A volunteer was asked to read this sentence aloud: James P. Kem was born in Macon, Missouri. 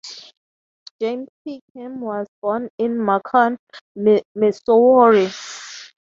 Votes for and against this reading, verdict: 0, 3, rejected